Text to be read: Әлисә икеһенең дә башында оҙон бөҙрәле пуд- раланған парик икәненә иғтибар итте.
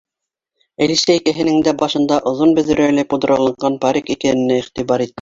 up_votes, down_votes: 0, 2